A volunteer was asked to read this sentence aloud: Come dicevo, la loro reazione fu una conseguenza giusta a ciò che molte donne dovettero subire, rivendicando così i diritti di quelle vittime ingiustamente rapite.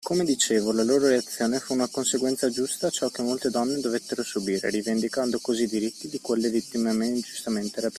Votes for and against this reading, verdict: 1, 2, rejected